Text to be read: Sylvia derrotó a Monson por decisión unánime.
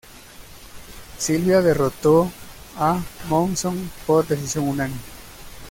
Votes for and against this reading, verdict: 2, 0, accepted